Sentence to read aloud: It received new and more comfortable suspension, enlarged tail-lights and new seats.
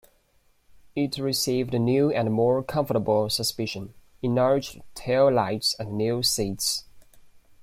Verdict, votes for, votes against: rejected, 0, 2